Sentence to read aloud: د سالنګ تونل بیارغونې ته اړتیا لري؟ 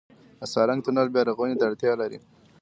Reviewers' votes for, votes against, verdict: 2, 0, accepted